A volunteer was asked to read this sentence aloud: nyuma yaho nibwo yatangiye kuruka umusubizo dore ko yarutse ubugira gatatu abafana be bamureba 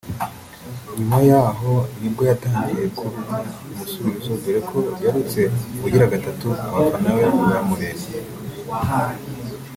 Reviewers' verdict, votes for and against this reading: rejected, 0, 2